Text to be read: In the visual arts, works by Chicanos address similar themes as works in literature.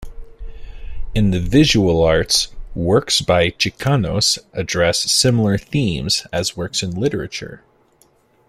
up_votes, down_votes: 2, 0